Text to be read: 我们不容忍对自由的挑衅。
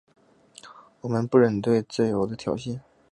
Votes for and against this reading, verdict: 0, 2, rejected